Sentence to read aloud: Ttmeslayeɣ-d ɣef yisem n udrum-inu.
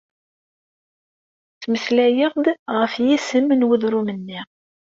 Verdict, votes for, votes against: rejected, 1, 2